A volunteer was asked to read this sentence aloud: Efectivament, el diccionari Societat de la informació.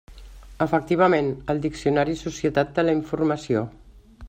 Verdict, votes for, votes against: accepted, 2, 0